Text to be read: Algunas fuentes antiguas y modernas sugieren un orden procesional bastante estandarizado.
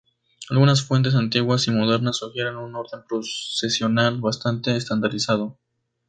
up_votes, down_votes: 2, 0